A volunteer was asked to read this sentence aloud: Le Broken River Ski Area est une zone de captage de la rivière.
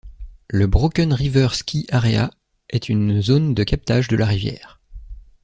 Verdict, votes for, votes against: accepted, 2, 0